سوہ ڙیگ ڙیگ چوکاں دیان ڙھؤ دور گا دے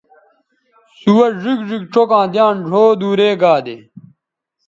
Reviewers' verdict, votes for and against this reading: accepted, 2, 1